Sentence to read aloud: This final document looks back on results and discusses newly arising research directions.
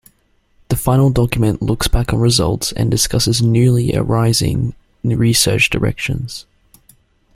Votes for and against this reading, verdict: 0, 2, rejected